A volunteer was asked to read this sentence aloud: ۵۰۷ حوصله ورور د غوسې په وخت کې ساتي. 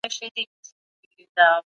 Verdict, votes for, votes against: rejected, 0, 2